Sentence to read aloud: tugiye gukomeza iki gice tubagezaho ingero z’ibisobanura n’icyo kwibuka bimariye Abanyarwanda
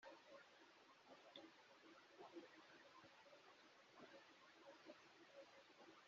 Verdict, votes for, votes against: rejected, 0, 3